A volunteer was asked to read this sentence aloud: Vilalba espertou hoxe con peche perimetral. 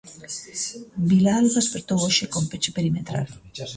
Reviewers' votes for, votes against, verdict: 1, 2, rejected